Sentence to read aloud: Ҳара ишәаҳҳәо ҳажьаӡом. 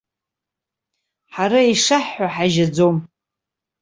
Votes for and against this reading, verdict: 1, 2, rejected